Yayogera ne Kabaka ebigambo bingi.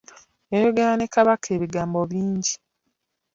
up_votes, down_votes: 2, 1